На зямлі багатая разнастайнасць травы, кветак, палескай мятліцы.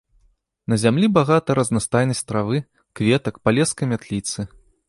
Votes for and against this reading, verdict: 0, 2, rejected